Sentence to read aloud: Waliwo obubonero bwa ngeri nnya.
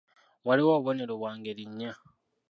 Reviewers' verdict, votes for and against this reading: accepted, 2, 0